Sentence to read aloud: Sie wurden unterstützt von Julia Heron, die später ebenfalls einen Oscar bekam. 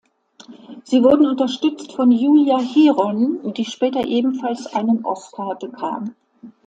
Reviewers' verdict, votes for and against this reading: accepted, 2, 0